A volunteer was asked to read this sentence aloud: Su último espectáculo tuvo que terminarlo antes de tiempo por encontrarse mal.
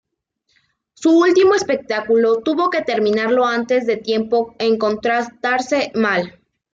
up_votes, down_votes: 2, 1